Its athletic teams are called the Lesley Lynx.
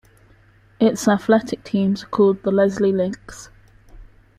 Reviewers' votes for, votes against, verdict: 0, 2, rejected